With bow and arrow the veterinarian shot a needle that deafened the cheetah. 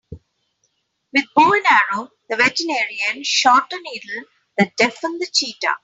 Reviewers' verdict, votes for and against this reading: rejected, 3, 4